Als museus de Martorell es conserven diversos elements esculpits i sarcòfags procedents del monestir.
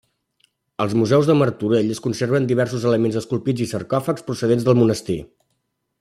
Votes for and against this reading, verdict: 2, 0, accepted